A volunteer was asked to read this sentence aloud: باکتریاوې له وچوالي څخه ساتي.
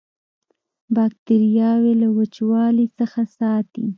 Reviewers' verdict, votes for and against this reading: accepted, 2, 0